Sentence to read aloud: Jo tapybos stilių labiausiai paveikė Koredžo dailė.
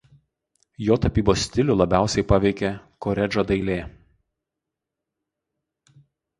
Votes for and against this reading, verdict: 2, 2, rejected